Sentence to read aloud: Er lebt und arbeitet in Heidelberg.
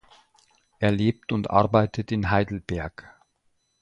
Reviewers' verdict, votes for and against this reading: accepted, 2, 0